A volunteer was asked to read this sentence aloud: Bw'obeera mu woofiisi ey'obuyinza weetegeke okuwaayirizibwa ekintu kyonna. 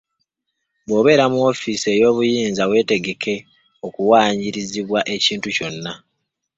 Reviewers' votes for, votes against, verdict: 2, 1, accepted